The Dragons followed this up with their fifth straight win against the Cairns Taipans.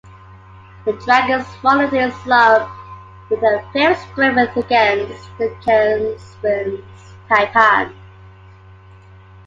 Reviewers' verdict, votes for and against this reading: rejected, 1, 2